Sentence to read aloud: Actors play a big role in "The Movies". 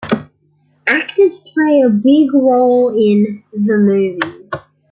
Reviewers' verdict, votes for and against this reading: accepted, 2, 0